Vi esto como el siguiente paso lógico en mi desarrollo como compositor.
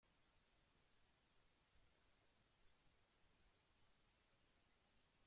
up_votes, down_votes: 0, 2